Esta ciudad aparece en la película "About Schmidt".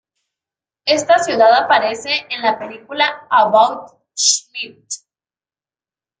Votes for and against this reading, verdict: 1, 2, rejected